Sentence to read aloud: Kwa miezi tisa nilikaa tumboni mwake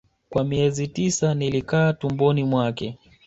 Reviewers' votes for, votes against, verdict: 2, 0, accepted